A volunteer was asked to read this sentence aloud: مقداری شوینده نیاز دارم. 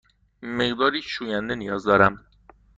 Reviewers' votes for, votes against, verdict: 2, 0, accepted